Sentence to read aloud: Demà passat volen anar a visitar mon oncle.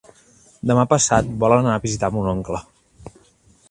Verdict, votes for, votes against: accepted, 2, 1